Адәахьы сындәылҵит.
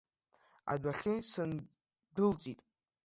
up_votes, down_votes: 1, 2